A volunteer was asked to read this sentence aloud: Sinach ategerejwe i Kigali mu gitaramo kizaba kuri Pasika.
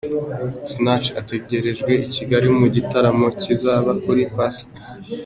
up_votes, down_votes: 2, 0